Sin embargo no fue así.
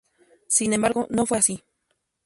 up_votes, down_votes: 0, 2